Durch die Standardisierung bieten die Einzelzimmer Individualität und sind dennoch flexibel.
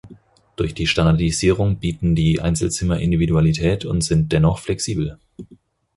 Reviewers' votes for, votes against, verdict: 4, 0, accepted